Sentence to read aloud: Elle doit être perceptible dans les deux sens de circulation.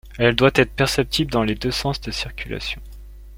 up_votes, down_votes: 2, 0